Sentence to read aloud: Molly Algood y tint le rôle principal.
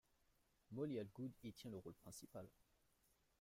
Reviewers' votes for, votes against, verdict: 1, 2, rejected